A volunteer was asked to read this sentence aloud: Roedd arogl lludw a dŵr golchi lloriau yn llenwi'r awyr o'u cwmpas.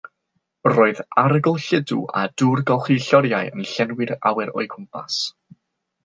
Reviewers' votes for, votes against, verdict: 3, 0, accepted